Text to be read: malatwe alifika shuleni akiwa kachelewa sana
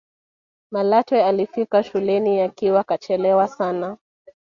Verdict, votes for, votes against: accepted, 2, 0